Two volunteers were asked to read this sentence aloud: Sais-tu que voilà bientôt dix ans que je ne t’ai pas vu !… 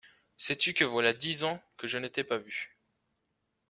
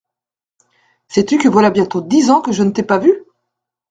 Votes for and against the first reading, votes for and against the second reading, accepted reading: 1, 2, 2, 0, second